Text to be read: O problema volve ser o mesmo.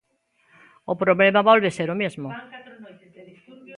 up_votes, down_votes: 1, 2